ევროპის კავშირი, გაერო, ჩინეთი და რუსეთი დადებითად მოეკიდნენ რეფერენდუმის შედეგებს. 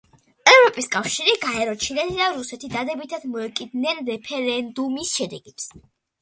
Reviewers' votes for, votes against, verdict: 2, 0, accepted